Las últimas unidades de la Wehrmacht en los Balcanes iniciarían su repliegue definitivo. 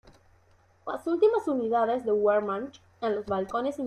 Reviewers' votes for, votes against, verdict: 0, 2, rejected